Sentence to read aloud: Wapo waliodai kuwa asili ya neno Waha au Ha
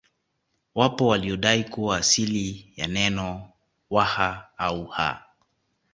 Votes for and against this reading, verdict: 2, 1, accepted